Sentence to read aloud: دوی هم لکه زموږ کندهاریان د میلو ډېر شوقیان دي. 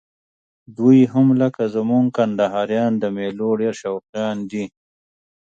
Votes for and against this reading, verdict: 2, 0, accepted